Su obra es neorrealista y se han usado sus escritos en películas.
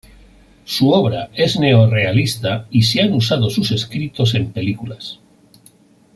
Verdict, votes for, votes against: accepted, 2, 0